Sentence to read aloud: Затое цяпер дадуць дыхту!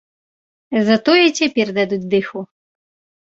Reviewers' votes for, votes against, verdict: 1, 2, rejected